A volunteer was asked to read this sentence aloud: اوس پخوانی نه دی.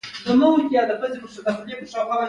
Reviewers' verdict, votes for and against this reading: rejected, 0, 2